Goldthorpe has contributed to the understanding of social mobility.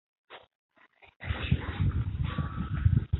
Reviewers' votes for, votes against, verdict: 0, 2, rejected